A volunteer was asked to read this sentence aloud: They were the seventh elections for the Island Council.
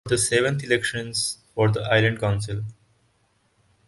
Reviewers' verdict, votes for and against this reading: rejected, 0, 12